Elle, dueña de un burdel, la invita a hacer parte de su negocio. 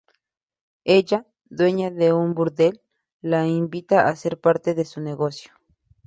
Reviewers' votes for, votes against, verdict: 2, 0, accepted